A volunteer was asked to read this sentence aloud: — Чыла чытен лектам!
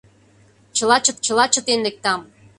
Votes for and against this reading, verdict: 0, 2, rejected